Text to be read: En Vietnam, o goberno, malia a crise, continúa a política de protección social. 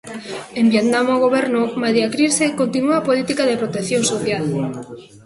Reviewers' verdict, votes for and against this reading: rejected, 1, 2